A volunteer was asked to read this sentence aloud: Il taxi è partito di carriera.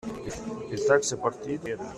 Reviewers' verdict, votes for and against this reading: rejected, 0, 2